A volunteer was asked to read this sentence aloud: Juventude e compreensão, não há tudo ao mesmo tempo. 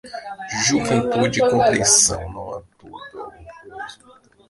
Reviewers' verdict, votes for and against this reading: rejected, 0, 2